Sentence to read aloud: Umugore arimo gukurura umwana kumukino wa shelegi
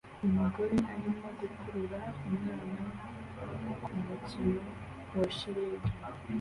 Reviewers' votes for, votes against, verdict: 2, 1, accepted